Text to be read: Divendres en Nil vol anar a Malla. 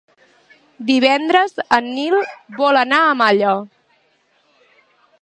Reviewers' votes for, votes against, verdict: 2, 1, accepted